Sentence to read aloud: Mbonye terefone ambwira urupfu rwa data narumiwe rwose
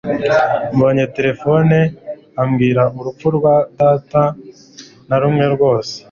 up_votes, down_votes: 1, 2